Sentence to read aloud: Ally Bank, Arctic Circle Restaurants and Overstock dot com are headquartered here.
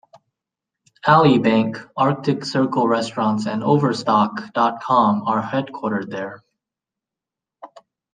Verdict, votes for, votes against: rejected, 1, 2